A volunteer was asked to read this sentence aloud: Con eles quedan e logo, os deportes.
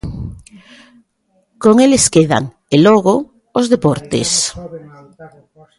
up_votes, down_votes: 3, 1